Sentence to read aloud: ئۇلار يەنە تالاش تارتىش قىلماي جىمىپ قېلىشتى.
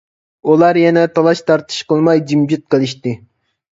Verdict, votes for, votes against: rejected, 1, 2